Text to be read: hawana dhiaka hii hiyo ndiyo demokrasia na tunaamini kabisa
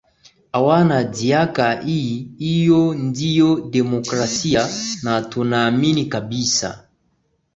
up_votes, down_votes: 2, 3